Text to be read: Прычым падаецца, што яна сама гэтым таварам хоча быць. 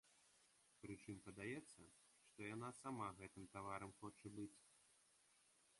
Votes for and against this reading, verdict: 2, 1, accepted